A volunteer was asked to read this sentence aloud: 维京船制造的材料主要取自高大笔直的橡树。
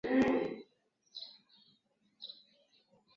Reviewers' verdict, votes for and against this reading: rejected, 0, 3